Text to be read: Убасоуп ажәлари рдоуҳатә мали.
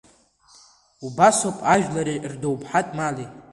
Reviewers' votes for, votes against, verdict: 2, 1, accepted